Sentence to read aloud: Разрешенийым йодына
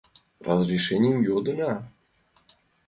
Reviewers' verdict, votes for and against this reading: accepted, 2, 0